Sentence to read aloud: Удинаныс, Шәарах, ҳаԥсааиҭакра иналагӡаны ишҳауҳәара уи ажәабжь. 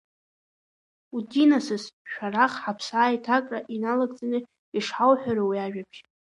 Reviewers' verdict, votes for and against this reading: accepted, 2, 1